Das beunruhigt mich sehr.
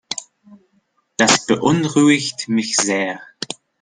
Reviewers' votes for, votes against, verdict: 2, 0, accepted